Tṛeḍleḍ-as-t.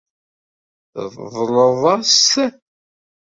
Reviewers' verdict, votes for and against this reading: rejected, 1, 2